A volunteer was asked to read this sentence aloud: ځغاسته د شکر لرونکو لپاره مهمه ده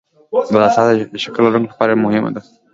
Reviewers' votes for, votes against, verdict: 2, 0, accepted